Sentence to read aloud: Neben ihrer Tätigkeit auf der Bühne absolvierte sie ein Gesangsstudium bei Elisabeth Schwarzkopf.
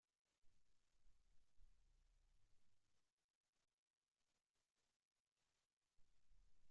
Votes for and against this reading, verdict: 0, 2, rejected